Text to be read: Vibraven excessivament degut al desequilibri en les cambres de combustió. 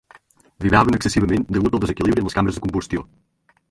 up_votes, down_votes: 0, 2